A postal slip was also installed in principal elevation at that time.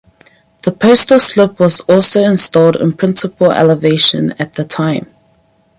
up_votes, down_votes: 0, 4